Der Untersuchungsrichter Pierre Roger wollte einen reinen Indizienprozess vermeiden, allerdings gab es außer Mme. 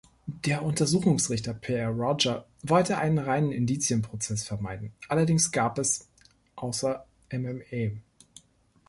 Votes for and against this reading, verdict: 0, 2, rejected